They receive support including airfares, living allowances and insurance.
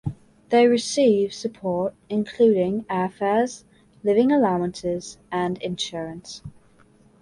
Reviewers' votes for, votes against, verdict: 2, 0, accepted